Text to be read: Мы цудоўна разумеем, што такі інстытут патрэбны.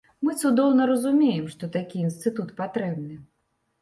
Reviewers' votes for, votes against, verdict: 1, 2, rejected